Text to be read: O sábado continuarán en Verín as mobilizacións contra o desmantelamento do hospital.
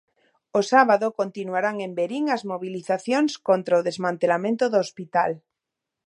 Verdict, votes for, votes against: accepted, 2, 0